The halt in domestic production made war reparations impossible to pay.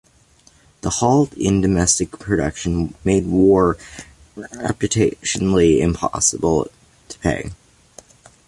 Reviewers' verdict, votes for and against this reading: rejected, 0, 2